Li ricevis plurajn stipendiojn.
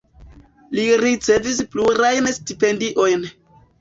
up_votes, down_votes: 1, 2